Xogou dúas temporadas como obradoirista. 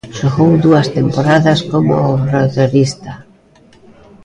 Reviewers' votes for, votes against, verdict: 0, 2, rejected